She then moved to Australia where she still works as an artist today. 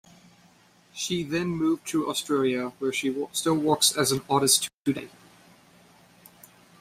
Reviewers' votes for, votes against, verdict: 0, 2, rejected